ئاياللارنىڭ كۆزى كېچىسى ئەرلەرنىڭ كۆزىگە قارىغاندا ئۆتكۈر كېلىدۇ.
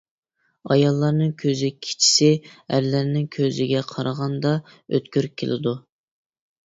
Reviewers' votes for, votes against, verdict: 2, 0, accepted